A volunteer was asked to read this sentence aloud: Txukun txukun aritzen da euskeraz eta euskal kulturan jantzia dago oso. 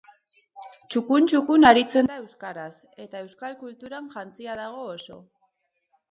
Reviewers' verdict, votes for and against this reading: rejected, 2, 2